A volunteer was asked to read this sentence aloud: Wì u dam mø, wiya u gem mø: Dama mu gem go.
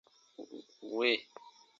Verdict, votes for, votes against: rejected, 0, 2